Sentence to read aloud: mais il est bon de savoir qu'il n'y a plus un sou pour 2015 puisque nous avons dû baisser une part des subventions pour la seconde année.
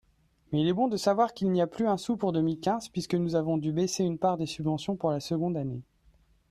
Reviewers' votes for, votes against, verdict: 0, 2, rejected